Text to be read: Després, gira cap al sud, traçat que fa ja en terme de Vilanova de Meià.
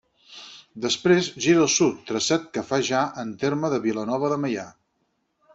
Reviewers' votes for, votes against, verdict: 4, 6, rejected